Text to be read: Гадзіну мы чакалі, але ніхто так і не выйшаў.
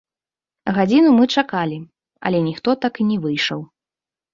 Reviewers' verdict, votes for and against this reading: accepted, 2, 0